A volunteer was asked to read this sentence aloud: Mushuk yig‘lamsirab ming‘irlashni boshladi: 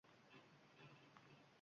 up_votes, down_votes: 0, 2